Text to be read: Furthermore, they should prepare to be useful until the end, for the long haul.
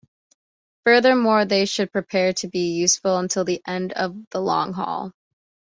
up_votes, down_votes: 1, 2